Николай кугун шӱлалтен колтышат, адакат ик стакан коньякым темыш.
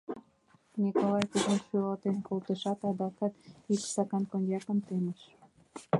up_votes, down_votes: 2, 4